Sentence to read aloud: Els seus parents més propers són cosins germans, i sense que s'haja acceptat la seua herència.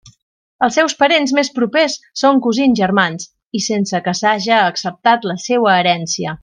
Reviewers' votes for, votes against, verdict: 2, 0, accepted